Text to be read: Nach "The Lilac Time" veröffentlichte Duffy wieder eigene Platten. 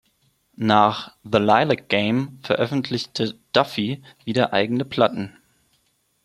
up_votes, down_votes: 0, 2